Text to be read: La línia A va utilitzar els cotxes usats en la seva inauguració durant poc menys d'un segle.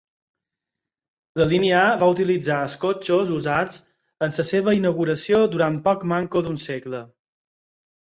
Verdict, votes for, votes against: accepted, 4, 2